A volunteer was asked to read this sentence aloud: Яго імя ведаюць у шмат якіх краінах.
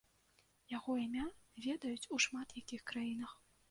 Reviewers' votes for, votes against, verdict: 2, 0, accepted